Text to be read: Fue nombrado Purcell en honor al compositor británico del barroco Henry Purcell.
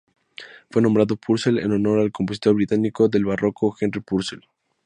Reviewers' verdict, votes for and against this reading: accepted, 4, 0